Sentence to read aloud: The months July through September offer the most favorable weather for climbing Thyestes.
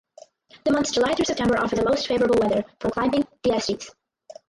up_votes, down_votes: 0, 4